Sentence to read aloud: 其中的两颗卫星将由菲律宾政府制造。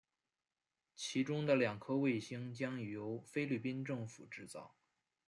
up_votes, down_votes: 0, 2